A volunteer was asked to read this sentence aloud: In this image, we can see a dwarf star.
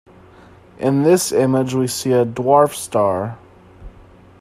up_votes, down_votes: 1, 2